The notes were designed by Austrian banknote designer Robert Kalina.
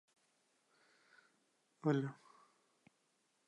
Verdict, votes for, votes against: rejected, 0, 2